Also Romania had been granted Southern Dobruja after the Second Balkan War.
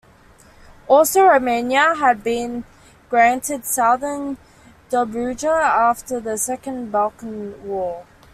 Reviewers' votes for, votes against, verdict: 2, 0, accepted